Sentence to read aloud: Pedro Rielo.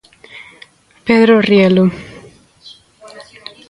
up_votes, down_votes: 2, 0